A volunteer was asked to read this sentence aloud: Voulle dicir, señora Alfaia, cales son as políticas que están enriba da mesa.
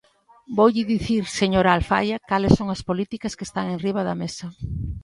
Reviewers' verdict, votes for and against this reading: accepted, 2, 0